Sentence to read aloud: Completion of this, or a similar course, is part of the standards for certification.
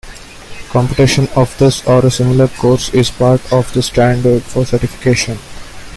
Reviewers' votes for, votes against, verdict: 2, 1, accepted